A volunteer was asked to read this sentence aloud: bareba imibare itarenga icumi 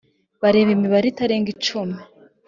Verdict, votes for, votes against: accepted, 2, 0